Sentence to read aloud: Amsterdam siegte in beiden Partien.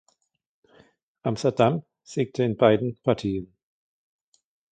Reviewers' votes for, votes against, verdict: 2, 0, accepted